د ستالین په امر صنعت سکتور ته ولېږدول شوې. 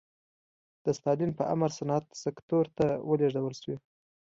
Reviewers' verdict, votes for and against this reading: accepted, 2, 0